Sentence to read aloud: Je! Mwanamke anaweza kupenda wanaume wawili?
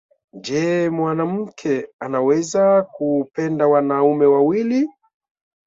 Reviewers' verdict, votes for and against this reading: accepted, 8, 2